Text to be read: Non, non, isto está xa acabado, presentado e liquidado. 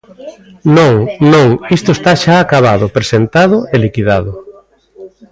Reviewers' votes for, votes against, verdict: 1, 2, rejected